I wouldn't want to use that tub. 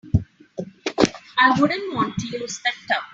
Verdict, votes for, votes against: accepted, 3, 0